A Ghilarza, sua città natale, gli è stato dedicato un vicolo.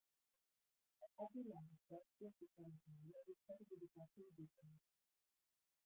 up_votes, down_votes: 0, 2